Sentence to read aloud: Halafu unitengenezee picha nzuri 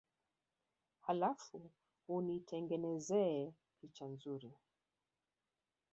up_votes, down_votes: 0, 2